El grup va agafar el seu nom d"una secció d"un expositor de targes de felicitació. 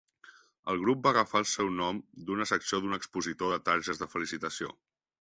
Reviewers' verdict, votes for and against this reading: accepted, 2, 0